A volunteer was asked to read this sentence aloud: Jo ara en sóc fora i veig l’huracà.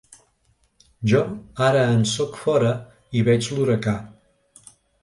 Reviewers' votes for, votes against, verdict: 3, 0, accepted